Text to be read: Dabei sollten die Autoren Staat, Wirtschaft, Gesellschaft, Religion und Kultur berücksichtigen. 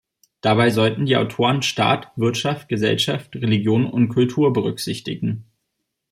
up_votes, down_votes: 2, 0